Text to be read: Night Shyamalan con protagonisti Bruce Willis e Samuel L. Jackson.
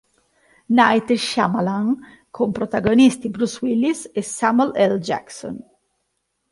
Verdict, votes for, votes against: accepted, 2, 0